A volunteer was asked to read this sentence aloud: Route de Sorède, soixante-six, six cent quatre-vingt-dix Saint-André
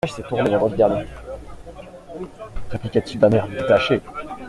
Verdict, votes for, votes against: rejected, 0, 2